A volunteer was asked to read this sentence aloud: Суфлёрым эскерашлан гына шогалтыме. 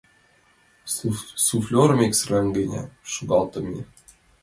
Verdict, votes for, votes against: rejected, 0, 2